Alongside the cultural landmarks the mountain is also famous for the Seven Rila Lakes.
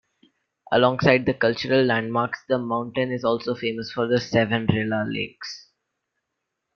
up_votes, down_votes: 2, 0